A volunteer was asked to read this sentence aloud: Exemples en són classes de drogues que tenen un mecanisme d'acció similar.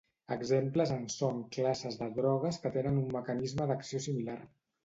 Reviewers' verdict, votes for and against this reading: accepted, 2, 0